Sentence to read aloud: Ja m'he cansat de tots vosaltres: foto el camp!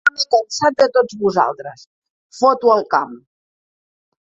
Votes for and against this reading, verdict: 2, 3, rejected